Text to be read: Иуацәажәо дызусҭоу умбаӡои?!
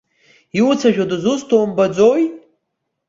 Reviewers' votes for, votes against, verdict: 1, 2, rejected